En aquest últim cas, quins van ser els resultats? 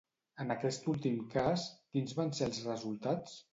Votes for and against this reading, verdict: 2, 0, accepted